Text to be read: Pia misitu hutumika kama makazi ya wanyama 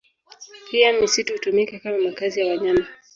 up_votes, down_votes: 2, 0